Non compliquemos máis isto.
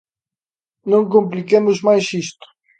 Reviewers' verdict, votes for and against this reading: accepted, 3, 0